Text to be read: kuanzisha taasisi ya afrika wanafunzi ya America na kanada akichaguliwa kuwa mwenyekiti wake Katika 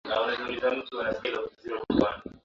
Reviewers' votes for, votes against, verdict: 0, 2, rejected